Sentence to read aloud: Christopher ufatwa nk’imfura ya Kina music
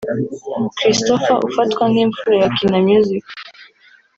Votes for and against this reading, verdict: 0, 2, rejected